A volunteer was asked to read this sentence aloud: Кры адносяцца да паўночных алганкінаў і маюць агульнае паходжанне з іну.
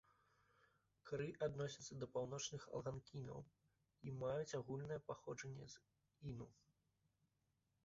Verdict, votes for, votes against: accepted, 2, 0